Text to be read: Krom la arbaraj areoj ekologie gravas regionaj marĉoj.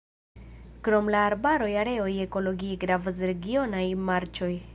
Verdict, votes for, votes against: rejected, 0, 2